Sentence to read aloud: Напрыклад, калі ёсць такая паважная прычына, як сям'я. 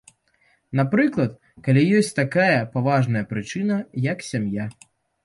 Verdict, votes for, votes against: accepted, 2, 0